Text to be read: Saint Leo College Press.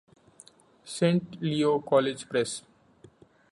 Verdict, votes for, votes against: accepted, 2, 0